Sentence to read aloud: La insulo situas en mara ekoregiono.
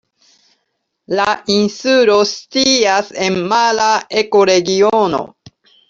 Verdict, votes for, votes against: rejected, 0, 2